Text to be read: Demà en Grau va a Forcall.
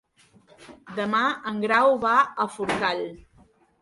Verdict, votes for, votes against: rejected, 0, 2